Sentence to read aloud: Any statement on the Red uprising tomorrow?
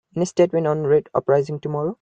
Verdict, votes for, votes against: rejected, 0, 2